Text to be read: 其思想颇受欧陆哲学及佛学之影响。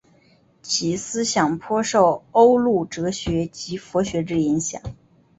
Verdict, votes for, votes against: accepted, 5, 0